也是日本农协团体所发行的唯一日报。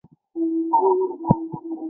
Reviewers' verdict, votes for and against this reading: rejected, 2, 3